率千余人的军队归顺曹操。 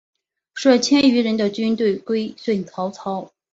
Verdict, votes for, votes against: accepted, 5, 1